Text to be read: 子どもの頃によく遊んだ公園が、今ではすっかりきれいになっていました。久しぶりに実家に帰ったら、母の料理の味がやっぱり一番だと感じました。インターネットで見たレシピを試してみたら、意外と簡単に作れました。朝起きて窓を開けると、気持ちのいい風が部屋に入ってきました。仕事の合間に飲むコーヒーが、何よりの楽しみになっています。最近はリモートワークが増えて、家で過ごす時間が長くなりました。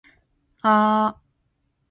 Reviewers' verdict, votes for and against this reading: rejected, 0, 2